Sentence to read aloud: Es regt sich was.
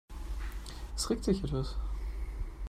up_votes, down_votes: 1, 2